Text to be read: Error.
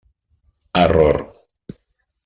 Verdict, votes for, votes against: accepted, 3, 0